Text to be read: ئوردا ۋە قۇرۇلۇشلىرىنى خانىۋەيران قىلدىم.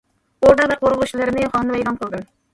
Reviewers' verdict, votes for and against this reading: rejected, 0, 2